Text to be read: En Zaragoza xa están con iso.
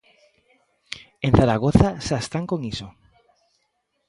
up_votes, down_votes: 2, 0